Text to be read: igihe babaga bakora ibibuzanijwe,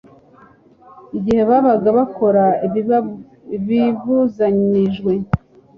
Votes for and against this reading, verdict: 0, 2, rejected